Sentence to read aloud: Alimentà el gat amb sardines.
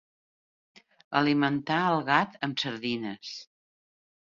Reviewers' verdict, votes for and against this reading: accepted, 3, 0